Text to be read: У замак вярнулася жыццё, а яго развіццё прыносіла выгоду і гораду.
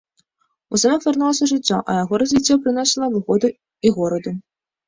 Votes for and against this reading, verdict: 1, 2, rejected